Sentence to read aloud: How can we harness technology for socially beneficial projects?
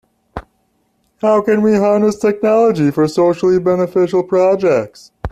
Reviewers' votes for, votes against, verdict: 0, 2, rejected